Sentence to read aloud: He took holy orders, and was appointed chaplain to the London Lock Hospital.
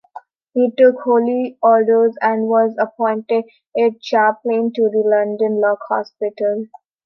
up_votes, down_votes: 1, 2